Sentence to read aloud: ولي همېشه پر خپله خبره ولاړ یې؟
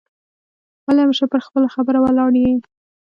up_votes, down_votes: 2, 1